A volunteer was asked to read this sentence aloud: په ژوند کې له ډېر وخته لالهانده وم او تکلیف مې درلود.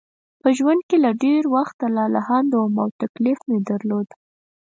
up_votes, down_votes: 4, 0